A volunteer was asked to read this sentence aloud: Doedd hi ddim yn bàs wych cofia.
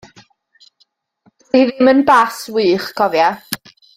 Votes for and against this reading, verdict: 1, 2, rejected